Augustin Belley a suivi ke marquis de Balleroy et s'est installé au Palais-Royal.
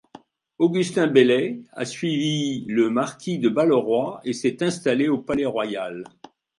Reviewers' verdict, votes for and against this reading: rejected, 1, 2